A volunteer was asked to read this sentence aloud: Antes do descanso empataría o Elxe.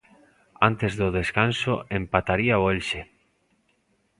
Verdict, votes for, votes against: accepted, 2, 0